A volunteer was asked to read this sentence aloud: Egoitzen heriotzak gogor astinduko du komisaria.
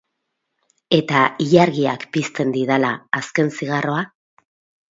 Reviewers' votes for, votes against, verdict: 0, 2, rejected